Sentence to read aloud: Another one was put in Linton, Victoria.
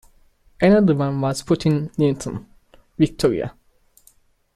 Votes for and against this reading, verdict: 2, 3, rejected